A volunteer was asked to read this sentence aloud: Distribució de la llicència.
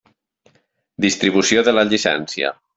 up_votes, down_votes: 3, 0